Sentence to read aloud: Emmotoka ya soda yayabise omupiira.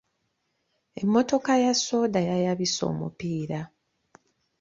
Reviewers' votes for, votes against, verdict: 2, 0, accepted